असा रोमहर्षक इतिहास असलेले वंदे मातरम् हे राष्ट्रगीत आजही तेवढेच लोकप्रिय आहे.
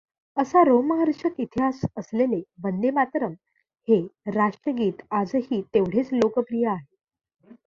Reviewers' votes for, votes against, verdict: 2, 0, accepted